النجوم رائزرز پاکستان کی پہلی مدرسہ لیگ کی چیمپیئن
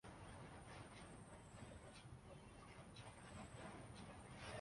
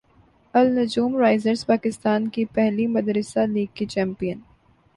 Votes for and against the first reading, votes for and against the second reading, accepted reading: 0, 2, 3, 0, second